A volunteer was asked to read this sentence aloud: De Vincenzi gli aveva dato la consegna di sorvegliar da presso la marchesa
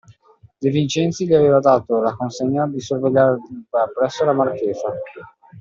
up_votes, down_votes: 2, 0